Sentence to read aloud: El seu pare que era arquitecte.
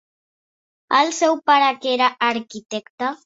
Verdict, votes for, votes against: accepted, 2, 0